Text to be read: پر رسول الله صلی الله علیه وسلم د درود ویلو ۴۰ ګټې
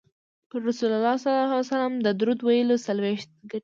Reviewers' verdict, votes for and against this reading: rejected, 0, 2